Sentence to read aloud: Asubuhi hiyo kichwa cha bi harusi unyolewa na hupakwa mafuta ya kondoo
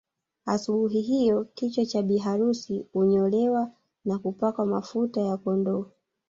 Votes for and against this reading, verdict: 2, 0, accepted